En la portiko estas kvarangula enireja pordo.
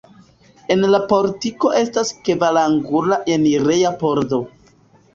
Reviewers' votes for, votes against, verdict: 2, 0, accepted